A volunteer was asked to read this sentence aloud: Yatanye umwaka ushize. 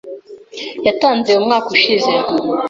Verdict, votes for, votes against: rejected, 1, 2